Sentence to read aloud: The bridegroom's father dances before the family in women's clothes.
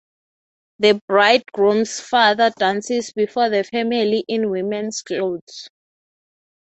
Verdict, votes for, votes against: rejected, 3, 3